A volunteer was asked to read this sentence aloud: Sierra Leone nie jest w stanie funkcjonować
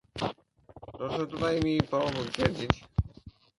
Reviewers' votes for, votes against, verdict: 0, 2, rejected